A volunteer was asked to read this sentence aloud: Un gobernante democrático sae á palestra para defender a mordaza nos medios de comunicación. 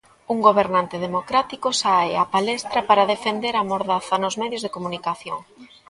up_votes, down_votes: 2, 1